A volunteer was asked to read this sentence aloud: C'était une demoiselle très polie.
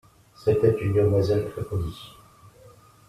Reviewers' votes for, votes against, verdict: 2, 0, accepted